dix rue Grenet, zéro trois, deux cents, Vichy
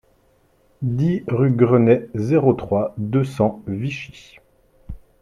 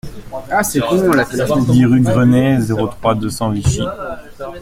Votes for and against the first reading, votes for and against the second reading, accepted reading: 2, 0, 1, 2, first